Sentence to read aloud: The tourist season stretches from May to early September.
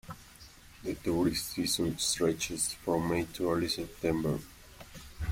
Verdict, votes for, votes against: accepted, 2, 1